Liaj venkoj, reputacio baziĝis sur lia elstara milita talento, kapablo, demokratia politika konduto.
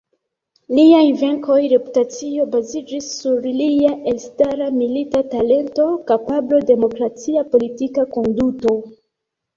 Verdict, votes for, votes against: accepted, 2, 0